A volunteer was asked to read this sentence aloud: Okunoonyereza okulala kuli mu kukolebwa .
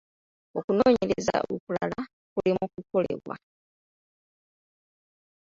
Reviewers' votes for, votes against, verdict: 1, 2, rejected